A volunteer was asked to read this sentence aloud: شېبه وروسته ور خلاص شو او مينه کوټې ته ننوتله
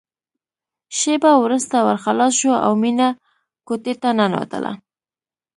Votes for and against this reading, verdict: 2, 0, accepted